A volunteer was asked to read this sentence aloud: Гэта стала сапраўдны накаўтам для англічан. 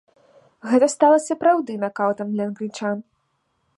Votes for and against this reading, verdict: 2, 1, accepted